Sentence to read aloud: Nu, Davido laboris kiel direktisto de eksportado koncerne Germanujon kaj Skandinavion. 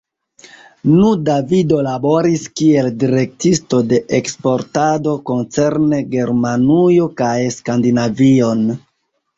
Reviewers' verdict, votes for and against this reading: rejected, 1, 2